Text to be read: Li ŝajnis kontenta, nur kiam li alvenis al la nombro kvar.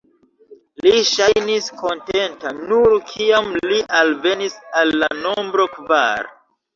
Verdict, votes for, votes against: accepted, 2, 1